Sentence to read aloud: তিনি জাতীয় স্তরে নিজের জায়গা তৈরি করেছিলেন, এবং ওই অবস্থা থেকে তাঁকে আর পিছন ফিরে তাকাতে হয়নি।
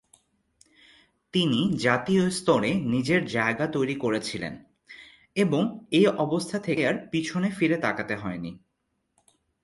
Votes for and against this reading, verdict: 1, 2, rejected